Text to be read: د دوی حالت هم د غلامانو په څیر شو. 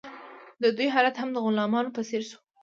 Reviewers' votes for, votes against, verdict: 2, 1, accepted